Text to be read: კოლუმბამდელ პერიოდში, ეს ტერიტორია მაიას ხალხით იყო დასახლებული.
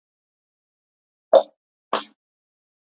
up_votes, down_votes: 2, 1